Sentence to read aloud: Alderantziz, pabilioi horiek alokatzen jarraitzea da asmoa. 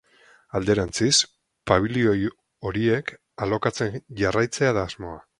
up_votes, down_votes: 4, 0